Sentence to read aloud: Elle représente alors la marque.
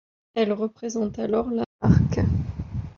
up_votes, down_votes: 0, 2